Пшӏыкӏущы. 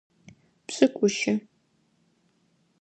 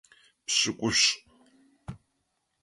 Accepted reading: first